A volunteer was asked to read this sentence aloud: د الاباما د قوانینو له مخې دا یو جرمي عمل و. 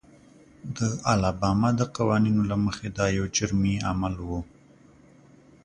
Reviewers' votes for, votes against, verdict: 2, 0, accepted